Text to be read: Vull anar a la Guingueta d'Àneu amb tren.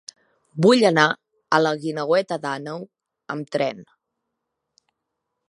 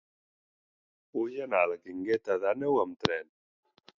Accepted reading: second